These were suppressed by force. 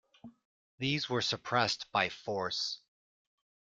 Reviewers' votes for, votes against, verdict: 2, 0, accepted